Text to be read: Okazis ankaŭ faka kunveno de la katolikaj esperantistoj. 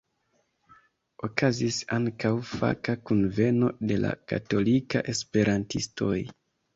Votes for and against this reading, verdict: 2, 1, accepted